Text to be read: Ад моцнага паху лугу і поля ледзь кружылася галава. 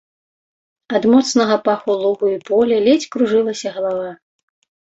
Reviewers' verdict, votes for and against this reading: accepted, 3, 0